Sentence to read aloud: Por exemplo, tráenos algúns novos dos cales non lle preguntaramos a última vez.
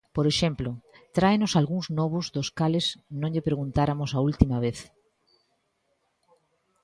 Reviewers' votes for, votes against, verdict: 0, 2, rejected